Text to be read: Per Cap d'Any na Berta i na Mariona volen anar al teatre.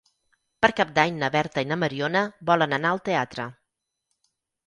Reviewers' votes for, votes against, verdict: 6, 0, accepted